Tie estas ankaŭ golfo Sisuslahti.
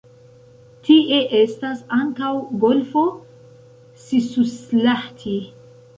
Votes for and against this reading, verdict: 1, 2, rejected